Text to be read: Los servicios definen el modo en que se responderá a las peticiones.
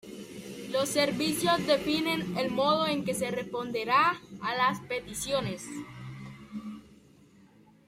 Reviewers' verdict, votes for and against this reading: rejected, 1, 2